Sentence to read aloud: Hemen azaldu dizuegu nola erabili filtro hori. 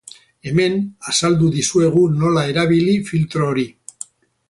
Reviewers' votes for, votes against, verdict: 2, 2, rejected